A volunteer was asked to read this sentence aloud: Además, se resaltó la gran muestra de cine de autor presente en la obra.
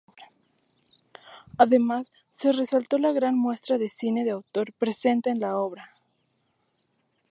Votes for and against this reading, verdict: 4, 0, accepted